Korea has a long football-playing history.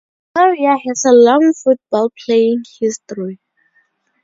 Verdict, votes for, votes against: rejected, 0, 2